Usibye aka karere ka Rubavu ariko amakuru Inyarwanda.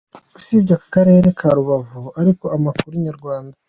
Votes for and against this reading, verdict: 2, 0, accepted